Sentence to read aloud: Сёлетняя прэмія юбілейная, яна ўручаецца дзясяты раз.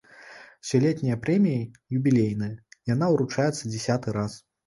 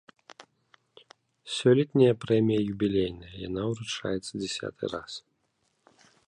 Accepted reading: second